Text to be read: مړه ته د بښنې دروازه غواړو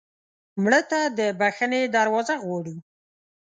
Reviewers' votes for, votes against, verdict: 2, 0, accepted